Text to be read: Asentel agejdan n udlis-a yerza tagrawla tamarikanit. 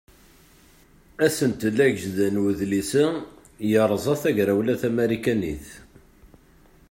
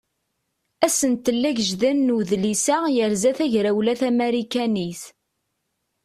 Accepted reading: second